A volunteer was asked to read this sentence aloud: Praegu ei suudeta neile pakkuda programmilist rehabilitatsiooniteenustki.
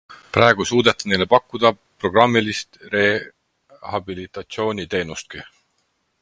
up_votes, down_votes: 6, 0